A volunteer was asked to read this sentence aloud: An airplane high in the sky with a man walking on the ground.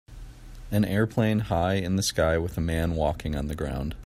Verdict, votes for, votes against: accepted, 2, 0